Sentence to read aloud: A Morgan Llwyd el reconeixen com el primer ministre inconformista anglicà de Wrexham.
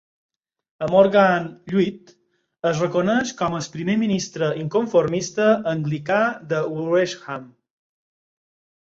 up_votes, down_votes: 2, 4